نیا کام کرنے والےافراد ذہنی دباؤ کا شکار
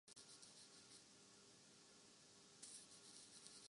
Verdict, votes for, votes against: rejected, 0, 5